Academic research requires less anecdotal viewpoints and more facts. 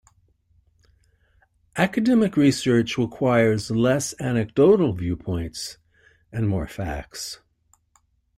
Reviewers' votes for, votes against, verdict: 2, 0, accepted